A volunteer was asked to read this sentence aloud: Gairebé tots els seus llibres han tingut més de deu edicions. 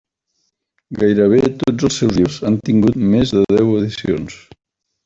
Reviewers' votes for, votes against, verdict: 0, 2, rejected